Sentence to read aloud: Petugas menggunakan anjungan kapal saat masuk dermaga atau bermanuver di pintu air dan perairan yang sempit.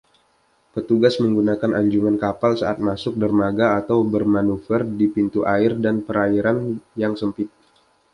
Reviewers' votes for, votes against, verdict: 2, 0, accepted